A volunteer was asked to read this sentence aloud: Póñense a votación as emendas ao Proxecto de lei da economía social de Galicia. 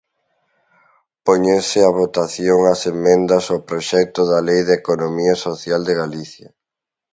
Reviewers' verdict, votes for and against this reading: rejected, 1, 2